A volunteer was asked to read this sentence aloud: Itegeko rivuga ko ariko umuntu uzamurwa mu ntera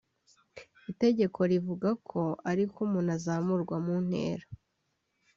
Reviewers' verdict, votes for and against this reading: rejected, 0, 2